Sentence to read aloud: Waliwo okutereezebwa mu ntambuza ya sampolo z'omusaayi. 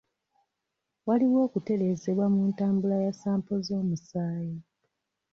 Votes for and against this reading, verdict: 1, 2, rejected